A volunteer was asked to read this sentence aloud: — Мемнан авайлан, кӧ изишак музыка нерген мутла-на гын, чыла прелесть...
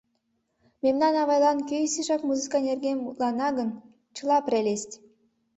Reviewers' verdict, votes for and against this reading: accepted, 4, 0